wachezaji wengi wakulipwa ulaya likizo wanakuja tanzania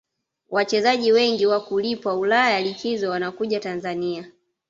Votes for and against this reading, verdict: 2, 0, accepted